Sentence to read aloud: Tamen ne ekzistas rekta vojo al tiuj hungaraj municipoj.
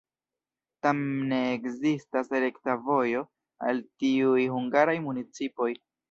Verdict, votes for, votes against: rejected, 1, 2